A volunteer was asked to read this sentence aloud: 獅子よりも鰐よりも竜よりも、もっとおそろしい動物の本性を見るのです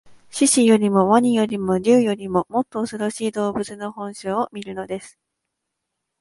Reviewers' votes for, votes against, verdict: 2, 0, accepted